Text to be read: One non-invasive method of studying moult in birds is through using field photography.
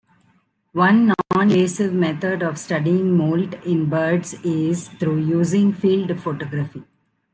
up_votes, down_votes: 2, 1